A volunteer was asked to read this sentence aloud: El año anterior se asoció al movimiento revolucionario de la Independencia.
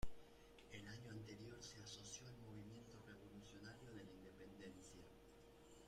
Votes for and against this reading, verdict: 0, 2, rejected